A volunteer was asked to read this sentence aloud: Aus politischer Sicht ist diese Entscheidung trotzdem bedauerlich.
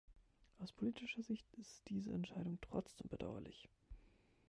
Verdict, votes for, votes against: accepted, 2, 1